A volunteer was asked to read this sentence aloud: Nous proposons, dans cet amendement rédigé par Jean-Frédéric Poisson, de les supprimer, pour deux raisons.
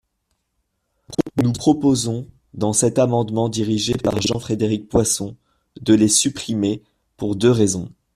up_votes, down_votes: 1, 2